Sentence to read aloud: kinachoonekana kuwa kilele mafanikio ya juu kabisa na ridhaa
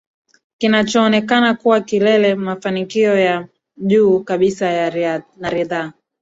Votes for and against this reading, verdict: 2, 0, accepted